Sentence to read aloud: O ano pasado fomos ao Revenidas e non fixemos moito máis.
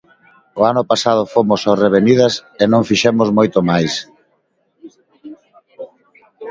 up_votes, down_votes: 2, 0